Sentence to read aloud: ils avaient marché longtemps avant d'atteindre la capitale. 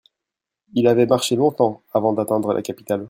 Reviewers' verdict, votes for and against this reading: rejected, 1, 2